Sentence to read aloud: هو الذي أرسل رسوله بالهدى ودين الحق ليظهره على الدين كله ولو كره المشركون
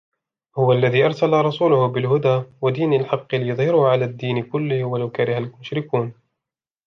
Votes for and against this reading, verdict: 2, 0, accepted